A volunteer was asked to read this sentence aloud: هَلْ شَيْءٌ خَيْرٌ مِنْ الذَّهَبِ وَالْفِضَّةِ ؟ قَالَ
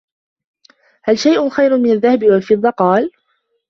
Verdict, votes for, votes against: accepted, 2, 0